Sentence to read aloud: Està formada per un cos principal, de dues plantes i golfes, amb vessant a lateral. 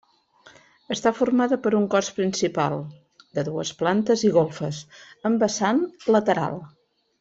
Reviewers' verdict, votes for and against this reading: rejected, 1, 2